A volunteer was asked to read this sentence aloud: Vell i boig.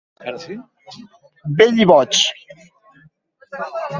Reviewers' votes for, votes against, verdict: 2, 0, accepted